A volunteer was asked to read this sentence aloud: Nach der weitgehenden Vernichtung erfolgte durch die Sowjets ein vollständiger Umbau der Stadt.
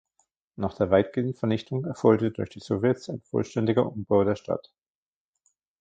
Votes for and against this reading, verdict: 0, 2, rejected